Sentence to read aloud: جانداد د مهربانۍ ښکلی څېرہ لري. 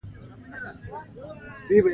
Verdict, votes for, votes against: accepted, 2, 0